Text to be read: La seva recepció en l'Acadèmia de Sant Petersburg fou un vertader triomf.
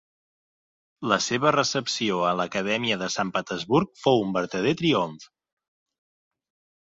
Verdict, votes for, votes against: accepted, 2, 1